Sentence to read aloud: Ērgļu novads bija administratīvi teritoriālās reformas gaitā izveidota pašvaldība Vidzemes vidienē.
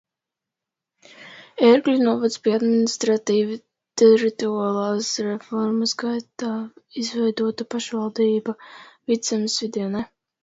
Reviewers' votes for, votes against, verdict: 0, 2, rejected